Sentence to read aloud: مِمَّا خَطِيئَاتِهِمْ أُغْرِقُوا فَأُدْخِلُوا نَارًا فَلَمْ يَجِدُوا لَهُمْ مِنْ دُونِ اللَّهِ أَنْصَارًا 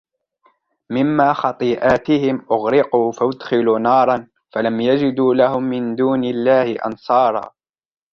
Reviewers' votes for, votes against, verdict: 2, 0, accepted